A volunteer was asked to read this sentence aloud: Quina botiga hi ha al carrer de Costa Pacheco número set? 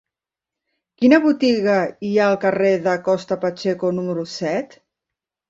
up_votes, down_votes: 4, 0